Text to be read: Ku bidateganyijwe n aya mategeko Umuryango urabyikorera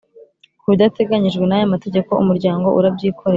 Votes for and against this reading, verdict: 2, 0, accepted